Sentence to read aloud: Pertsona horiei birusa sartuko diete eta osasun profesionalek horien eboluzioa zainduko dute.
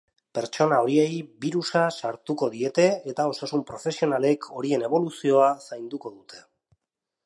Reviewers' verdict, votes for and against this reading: accepted, 2, 0